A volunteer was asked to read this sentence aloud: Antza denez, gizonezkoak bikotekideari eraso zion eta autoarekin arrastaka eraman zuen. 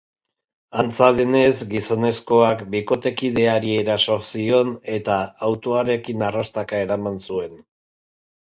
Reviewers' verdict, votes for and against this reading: accepted, 3, 1